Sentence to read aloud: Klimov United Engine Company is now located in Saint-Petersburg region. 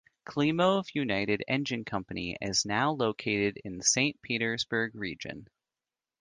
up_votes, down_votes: 2, 0